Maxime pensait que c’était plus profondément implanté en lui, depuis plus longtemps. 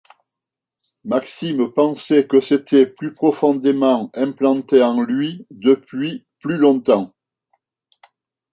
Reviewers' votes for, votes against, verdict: 2, 0, accepted